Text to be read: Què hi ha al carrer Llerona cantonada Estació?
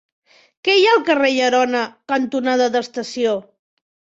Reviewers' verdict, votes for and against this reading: rejected, 0, 2